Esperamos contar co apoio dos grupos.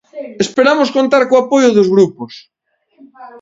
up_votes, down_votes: 1, 2